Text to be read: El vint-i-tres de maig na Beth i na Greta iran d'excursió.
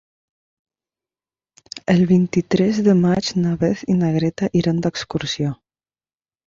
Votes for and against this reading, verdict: 3, 1, accepted